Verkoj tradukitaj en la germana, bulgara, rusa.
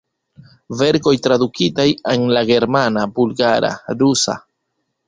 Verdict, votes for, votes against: rejected, 1, 2